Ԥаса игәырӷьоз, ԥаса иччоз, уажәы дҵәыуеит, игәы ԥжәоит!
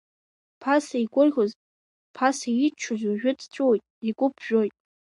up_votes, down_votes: 2, 0